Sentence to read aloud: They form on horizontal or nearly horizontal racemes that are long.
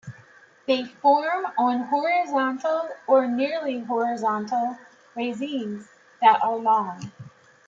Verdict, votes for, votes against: rejected, 0, 2